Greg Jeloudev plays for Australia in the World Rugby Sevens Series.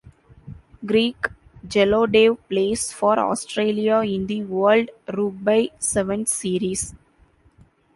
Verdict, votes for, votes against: rejected, 0, 2